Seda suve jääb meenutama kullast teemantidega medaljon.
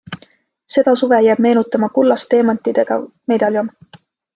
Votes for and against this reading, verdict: 2, 0, accepted